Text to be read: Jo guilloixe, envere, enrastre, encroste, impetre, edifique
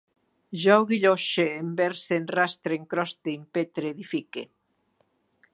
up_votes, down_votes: 1, 2